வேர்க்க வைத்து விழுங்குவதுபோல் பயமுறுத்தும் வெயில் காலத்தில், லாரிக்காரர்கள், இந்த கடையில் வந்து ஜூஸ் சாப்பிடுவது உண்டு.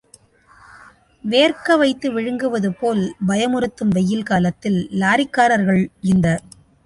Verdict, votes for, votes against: rejected, 0, 2